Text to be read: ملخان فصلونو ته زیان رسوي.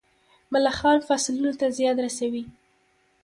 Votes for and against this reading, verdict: 0, 2, rejected